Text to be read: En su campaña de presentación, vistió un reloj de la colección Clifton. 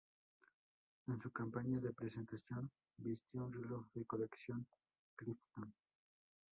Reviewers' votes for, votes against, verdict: 2, 0, accepted